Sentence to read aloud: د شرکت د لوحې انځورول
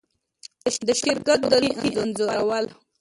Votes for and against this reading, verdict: 2, 0, accepted